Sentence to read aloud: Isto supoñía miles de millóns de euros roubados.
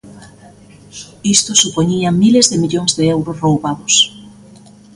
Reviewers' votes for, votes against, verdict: 2, 0, accepted